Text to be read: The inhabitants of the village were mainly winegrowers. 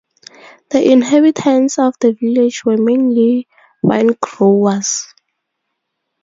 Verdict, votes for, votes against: rejected, 0, 2